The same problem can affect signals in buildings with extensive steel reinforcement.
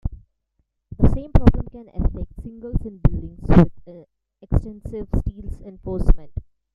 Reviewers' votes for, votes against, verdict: 0, 2, rejected